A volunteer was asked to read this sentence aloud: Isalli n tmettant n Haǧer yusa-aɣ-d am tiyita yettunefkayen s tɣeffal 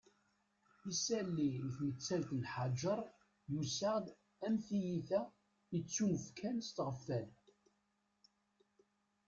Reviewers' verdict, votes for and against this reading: rejected, 0, 2